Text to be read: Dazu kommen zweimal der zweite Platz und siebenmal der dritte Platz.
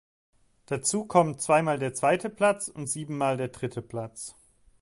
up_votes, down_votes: 3, 0